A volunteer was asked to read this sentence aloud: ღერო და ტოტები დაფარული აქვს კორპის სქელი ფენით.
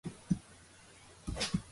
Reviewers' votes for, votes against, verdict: 0, 2, rejected